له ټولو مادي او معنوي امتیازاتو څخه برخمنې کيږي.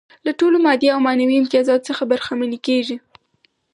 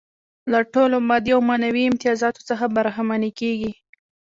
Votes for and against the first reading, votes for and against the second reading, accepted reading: 4, 0, 1, 2, first